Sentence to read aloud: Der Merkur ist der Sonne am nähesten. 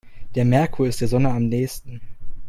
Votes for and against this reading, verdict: 2, 0, accepted